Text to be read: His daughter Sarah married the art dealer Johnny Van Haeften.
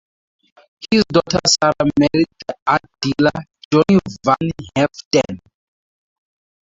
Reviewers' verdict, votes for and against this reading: accepted, 2, 0